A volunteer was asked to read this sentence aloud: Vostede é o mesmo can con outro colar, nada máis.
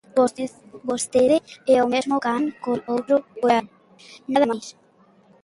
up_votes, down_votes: 0, 2